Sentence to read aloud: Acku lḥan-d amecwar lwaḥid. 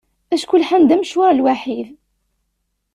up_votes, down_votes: 2, 0